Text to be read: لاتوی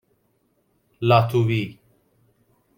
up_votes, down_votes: 1, 2